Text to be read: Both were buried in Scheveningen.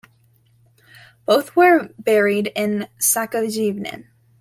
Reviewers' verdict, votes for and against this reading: accepted, 2, 1